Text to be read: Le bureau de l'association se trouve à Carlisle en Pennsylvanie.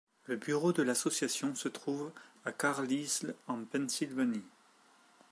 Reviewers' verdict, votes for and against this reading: rejected, 0, 2